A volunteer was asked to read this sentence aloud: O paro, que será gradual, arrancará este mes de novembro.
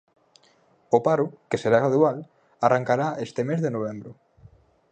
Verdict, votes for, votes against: accepted, 4, 0